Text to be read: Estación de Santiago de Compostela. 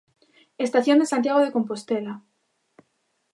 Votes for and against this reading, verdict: 2, 0, accepted